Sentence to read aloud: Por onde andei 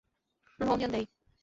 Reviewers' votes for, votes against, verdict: 0, 2, rejected